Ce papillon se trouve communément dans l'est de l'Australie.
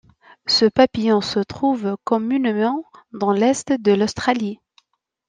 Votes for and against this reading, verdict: 1, 2, rejected